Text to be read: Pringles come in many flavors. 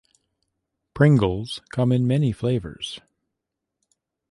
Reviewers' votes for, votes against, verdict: 2, 0, accepted